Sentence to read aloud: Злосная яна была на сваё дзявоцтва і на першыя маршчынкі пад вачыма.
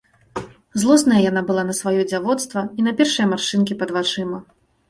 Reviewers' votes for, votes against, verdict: 2, 0, accepted